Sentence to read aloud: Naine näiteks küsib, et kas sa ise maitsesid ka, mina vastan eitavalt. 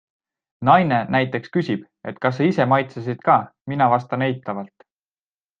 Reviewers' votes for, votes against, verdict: 2, 0, accepted